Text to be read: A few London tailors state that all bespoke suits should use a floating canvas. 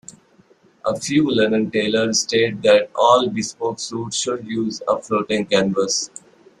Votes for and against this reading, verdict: 3, 1, accepted